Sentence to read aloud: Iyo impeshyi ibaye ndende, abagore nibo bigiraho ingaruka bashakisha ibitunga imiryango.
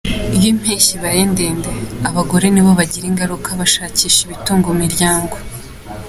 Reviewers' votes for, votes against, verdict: 2, 0, accepted